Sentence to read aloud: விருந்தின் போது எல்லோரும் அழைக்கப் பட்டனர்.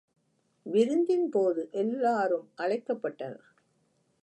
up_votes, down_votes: 0, 2